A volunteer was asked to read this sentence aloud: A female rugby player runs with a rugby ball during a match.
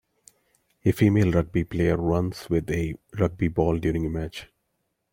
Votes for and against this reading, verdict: 1, 2, rejected